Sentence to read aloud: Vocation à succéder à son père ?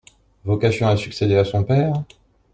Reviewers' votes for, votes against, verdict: 2, 0, accepted